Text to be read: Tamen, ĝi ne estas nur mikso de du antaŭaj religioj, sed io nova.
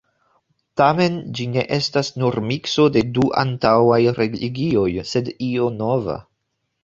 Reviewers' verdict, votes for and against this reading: rejected, 1, 2